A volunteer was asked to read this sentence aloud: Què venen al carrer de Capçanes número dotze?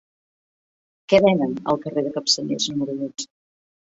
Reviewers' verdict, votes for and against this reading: rejected, 1, 2